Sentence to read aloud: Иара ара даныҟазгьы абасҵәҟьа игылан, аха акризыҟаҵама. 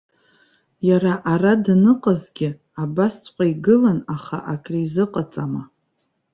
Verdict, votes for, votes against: accepted, 2, 0